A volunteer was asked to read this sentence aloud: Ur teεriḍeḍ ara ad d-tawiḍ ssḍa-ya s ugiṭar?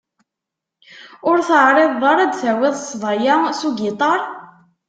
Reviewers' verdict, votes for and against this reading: accepted, 2, 0